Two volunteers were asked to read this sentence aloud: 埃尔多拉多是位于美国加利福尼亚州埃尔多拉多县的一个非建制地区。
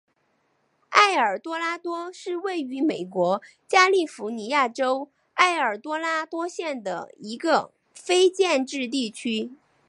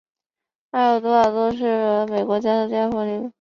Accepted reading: first